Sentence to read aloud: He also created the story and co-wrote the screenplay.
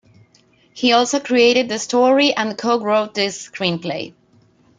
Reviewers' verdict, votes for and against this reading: accepted, 2, 1